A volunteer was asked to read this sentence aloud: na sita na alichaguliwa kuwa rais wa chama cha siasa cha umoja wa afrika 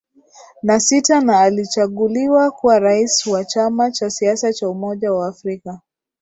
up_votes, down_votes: 2, 0